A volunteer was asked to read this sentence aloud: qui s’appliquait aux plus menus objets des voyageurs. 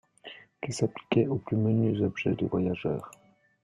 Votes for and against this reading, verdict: 1, 2, rejected